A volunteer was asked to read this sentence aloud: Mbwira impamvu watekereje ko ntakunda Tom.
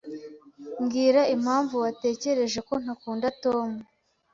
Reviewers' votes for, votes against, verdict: 2, 0, accepted